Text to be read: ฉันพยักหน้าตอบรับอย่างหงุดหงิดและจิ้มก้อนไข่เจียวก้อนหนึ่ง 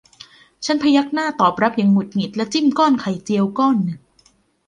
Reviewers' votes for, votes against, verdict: 2, 0, accepted